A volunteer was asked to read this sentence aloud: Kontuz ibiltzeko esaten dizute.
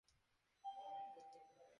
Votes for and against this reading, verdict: 2, 2, rejected